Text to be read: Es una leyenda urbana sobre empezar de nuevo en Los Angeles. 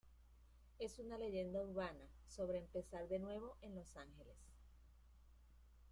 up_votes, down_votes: 0, 2